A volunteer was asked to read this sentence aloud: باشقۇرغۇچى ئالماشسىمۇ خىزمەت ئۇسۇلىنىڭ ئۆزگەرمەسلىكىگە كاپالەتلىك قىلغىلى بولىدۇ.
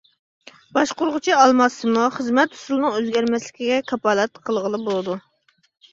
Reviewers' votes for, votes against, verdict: 3, 0, accepted